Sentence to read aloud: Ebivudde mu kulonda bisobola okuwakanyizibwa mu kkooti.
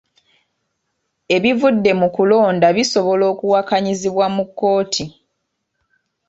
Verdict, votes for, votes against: accepted, 2, 0